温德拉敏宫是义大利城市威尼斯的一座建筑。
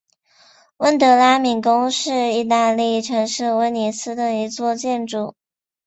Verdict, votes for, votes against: accepted, 3, 0